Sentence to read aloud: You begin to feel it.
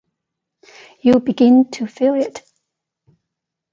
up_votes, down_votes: 2, 0